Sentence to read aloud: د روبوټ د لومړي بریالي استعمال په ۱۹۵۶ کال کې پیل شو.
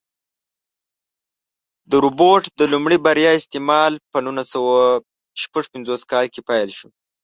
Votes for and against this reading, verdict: 0, 2, rejected